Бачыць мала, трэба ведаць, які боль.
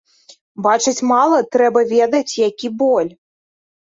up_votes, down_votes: 3, 0